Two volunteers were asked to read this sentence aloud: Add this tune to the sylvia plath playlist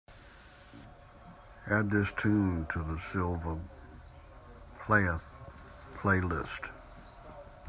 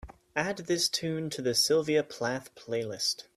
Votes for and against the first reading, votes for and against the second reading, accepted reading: 0, 2, 3, 0, second